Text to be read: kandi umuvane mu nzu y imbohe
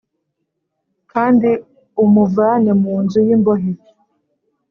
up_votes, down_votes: 2, 0